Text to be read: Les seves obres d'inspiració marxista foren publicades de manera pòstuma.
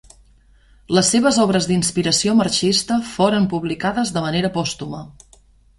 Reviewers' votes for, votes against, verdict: 2, 0, accepted